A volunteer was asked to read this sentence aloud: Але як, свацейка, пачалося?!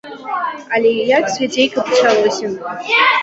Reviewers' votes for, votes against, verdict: 0, 2, rejected